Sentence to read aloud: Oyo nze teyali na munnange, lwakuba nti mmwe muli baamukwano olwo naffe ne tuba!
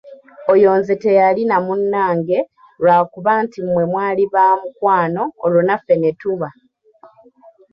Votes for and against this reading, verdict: 0, 2, rejected